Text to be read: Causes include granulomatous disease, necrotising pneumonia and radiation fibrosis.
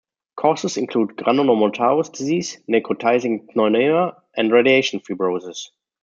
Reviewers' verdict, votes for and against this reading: rejected, 1, 2